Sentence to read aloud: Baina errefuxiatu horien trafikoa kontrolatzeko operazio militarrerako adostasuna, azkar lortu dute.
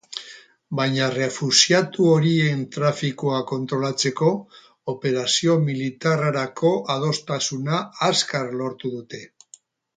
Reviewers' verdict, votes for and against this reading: rejected, 0, 2